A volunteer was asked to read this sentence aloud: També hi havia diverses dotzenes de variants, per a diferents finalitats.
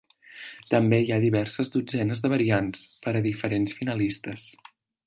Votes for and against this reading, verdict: 0, 2, rejected